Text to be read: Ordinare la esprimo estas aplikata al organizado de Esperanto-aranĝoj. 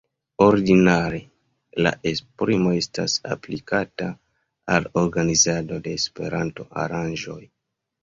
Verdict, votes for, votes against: accepted, 2, 0